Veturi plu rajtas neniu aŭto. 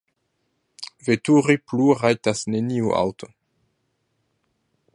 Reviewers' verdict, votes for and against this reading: rejected, 1, 2